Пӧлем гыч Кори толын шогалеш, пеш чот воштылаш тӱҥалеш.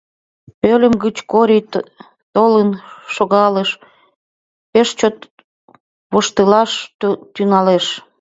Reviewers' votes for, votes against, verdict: 0, 2, rejected